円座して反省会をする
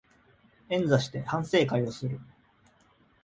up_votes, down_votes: 2, 0